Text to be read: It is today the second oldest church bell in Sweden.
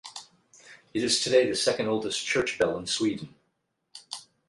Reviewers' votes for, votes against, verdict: 8, 0, accepted